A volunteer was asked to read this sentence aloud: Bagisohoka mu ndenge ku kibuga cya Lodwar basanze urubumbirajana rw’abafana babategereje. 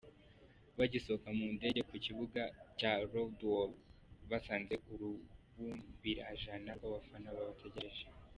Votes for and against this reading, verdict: 0, 2, rejected